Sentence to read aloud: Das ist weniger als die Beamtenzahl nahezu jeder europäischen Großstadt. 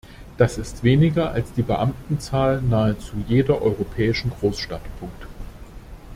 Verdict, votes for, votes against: rejected, 0, 2